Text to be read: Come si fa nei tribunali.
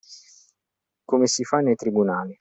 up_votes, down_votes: 2, 0